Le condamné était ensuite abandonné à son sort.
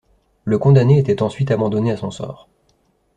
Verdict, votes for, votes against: accepted, 3, 0